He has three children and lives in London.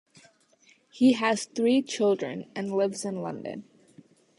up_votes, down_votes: 2, 0